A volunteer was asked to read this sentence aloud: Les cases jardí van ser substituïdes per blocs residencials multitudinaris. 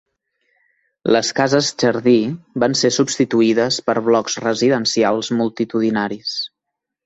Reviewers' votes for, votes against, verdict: 2, 0, accepted